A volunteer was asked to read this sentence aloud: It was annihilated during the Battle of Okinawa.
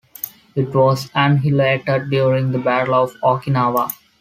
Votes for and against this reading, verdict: 1, 2, rejected